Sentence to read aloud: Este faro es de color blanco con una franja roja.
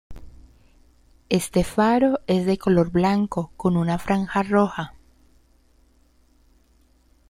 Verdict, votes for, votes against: accepted, 2, 0